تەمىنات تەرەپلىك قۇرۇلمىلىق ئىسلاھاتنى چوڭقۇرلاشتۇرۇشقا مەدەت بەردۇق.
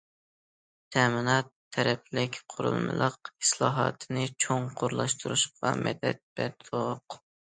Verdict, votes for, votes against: accepted, 2, 1